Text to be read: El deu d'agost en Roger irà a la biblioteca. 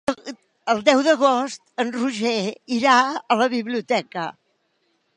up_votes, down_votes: 0, 3